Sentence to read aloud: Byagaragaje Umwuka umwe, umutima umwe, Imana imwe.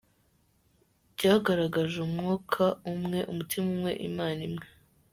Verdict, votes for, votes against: accepted, 2, 0